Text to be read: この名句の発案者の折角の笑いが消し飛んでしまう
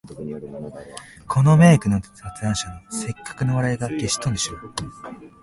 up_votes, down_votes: 0, 2